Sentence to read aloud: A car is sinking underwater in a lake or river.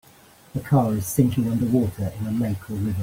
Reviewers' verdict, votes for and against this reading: rejected, 1, 2